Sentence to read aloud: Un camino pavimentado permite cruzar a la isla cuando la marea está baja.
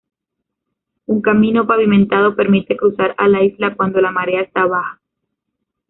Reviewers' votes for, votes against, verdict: 1, 2, rejected